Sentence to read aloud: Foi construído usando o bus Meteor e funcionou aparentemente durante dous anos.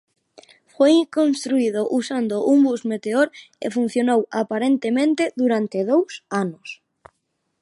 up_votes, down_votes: 0, 2